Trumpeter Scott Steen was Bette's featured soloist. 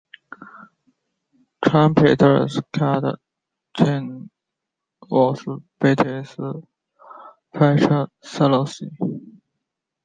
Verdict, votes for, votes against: accepted, 2, 0